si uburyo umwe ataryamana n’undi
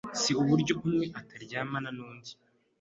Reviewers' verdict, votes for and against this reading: accepted, 2, 0